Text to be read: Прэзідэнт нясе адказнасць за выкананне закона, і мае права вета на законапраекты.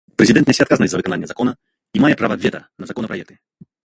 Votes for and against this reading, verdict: 0, 2, rejected